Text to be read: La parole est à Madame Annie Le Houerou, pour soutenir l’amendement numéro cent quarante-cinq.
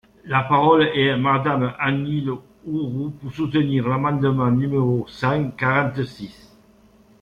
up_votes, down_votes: 0, 2